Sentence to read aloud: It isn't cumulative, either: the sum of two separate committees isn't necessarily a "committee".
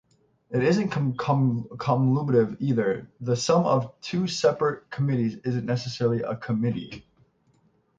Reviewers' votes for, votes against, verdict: 3, 6, rejected